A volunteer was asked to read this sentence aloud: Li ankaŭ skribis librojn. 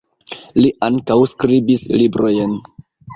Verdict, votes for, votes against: accepted, 2, 1